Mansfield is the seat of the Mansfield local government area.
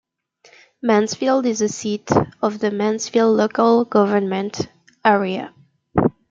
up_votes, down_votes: 1, 2